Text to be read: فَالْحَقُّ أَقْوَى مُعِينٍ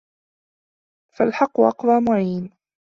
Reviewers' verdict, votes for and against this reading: accepted, 2, 1